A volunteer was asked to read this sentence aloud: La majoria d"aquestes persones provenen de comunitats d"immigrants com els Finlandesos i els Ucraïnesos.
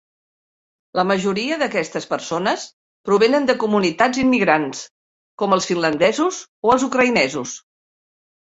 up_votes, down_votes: 0, 2